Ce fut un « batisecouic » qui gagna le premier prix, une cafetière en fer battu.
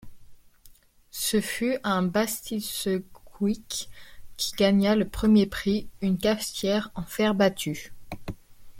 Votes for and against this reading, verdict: 0, 2, rejected